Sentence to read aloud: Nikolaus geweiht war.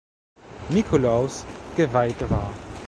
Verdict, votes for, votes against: rejected, 1, 2